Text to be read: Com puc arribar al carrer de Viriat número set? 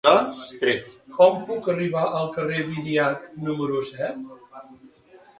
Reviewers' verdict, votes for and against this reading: rejected, 0, 2